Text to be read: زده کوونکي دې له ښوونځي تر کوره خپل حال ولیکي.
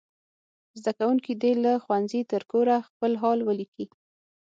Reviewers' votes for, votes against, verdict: 6, 0, accepted